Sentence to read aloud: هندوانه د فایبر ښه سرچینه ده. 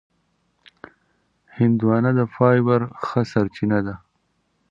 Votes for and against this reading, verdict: 2, 0, accepted